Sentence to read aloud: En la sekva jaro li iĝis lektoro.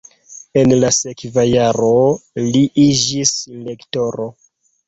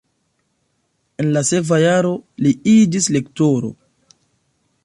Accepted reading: first